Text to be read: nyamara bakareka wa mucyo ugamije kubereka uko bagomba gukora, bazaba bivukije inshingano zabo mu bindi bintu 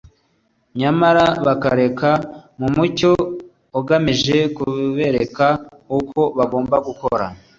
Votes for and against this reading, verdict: 2, 0, accepted